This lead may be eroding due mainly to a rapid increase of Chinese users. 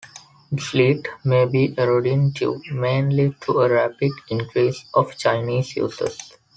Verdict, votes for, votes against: rejected, 1, 2